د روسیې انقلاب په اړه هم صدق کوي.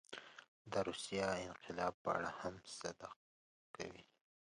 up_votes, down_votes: 1, 2